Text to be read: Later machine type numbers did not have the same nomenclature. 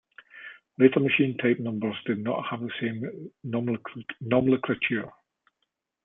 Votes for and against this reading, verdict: 0, 2, rejected